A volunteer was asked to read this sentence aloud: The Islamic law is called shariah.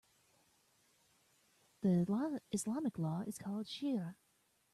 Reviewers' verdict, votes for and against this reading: rejected, 0, 2